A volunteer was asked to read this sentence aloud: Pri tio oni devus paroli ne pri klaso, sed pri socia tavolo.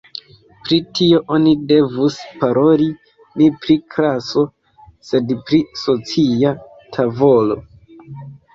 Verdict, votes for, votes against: rejected, 1, 2